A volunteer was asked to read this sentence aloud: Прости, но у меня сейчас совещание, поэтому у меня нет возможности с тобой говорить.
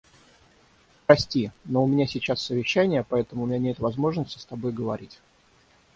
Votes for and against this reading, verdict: 0, 3, rejected